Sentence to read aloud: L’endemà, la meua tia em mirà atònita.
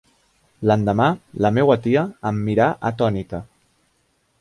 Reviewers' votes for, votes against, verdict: 2, 0, accepted